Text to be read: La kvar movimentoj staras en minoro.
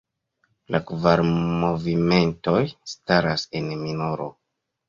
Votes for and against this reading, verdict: 1, 2, rejected